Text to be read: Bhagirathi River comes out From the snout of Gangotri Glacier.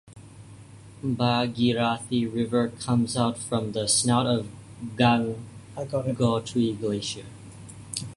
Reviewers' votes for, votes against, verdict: 0, 2, rejected